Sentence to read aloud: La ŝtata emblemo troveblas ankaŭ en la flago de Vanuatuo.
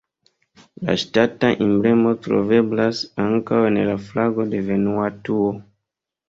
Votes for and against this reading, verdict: 2, 1, accepted